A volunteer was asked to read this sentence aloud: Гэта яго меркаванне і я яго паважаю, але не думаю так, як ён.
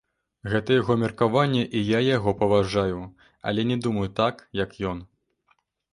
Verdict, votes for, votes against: rejected, 1, 2